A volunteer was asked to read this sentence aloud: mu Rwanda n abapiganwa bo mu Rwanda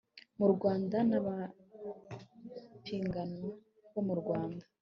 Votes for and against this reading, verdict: 0, 2, rejected